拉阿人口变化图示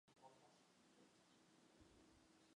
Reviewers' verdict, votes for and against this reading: rejected, 1, 3